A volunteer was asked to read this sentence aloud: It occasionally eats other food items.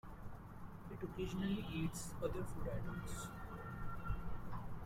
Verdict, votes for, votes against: rejected, 0, 2